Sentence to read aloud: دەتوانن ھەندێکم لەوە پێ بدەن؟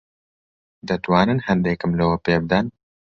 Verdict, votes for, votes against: accepted, 2, 0